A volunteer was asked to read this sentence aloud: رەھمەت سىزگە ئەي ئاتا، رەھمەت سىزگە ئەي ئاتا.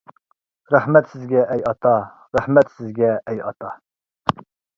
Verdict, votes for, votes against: rejected, 1, 2